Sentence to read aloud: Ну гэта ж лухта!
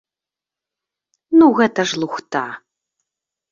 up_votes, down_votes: 2, 0